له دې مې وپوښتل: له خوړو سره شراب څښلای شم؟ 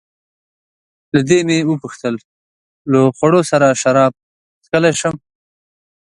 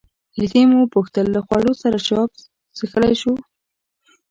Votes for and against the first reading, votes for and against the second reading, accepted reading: 2, 0, 1, 2, first